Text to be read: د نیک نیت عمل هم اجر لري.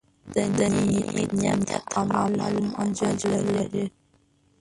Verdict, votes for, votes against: rejected, 1, 2